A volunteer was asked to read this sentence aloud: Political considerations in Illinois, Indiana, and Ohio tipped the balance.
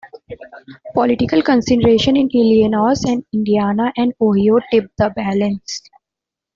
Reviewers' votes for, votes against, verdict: 1, 2, rejected